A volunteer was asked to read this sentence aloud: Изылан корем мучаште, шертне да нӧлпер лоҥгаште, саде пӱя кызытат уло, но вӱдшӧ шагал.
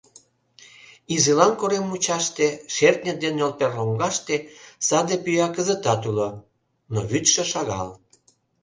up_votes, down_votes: 0, 2